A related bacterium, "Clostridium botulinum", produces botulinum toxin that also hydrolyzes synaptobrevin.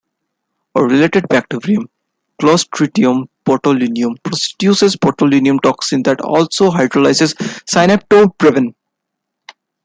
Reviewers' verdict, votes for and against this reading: rejected, 2, 3